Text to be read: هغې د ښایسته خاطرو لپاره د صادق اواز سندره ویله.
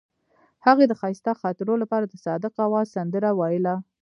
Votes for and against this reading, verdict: 0, 2, rejected